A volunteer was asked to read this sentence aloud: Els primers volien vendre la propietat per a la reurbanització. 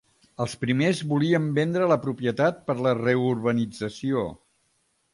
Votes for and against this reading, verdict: 0, 2, rejected